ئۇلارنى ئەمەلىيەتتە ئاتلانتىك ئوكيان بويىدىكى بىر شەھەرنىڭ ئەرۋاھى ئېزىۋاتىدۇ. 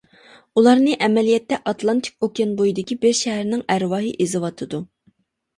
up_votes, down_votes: 2, 0